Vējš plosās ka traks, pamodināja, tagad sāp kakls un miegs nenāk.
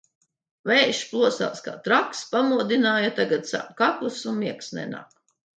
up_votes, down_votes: 2, 0